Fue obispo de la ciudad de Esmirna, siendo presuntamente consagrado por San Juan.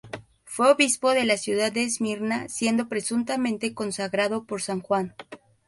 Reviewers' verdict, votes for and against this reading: accepted, 2, 0